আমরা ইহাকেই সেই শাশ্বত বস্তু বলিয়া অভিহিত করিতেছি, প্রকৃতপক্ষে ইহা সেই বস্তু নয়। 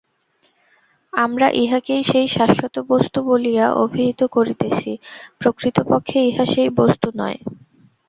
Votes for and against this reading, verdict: 2, 0, accepted